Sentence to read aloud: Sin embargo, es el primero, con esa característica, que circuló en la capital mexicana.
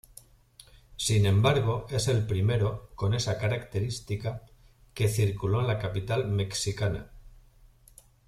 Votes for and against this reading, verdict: 0, 2, rejected